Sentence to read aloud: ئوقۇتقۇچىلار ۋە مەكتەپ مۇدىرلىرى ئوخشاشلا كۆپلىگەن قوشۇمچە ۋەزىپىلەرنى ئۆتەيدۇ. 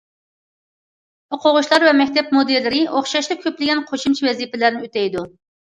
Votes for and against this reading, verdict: 0, 2, rejected